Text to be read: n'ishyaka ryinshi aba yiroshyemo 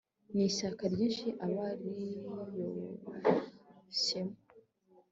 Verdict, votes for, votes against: accepted, 2, 0